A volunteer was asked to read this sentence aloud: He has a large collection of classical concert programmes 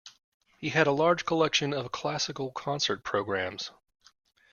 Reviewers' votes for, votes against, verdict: 1, 2, rejected